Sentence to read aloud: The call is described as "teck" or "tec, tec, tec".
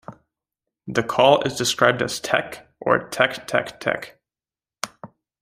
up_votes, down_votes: 2, 1